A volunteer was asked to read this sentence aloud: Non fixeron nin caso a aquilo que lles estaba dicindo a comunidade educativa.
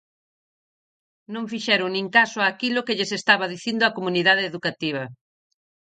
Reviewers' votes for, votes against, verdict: 4, 0, accepted